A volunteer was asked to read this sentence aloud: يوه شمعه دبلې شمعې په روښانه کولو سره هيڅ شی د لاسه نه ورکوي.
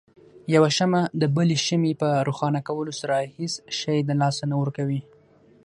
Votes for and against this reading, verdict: 6, 0, accepted